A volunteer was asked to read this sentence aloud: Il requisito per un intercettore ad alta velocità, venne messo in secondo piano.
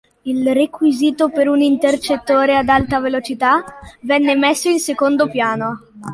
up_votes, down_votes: 2, 0